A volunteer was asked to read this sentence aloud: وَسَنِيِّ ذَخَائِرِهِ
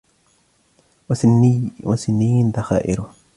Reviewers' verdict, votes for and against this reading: accepted, 2, 0